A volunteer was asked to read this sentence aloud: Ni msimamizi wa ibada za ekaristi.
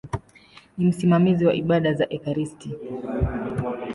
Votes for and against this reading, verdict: 2, 0, accepted